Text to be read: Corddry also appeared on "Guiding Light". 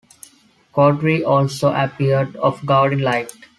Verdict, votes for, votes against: rejected, 1, 2